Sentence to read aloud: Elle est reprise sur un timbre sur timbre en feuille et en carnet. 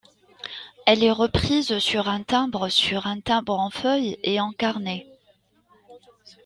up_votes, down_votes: 2, 0